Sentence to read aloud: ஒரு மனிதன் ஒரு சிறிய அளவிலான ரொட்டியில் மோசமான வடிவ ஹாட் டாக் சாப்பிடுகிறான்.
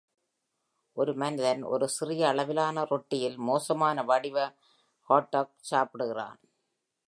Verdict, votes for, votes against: accepted, 2, 1